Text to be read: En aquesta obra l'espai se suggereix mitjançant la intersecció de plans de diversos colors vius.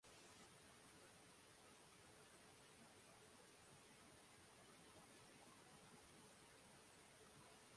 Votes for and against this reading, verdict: 0, 2, rejected